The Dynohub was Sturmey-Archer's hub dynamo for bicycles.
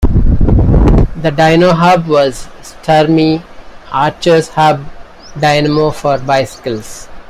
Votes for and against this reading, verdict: 2, 0, accepted